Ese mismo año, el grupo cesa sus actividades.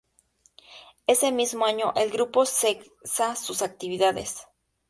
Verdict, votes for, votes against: rejected, 0, 2